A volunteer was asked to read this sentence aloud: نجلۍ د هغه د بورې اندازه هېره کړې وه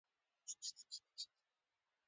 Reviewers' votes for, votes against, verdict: 0, 2, rejected